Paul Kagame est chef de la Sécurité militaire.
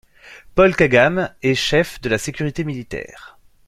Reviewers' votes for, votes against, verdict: 2, 0, accepted